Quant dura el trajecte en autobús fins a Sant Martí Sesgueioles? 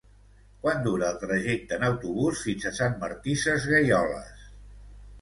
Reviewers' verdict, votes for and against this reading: accepted, 2, 0